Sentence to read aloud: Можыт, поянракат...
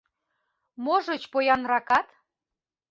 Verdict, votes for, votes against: rejected, 1, 2